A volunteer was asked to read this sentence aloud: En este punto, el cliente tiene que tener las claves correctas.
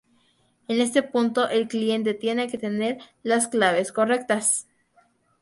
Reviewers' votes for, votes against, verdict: 2, 2, rejected